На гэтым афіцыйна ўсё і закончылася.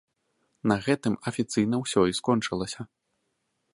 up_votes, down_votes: 0, 2